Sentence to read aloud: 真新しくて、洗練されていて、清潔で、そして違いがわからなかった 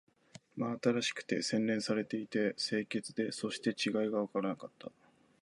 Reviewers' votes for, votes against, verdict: 2, 0, accepted